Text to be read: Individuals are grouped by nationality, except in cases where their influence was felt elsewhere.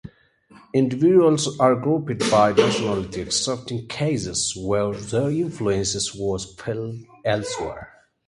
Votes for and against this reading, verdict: 2, 0, accepted